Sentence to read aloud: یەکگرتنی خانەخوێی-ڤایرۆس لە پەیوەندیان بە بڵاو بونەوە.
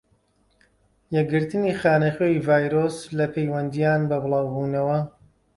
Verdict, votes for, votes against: accepted, 2, 0